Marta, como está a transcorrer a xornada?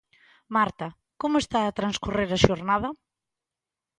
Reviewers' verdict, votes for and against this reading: accepted, 2, 0